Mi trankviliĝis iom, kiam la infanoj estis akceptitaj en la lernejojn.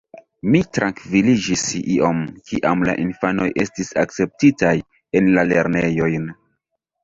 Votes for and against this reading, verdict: 2, 0, accepted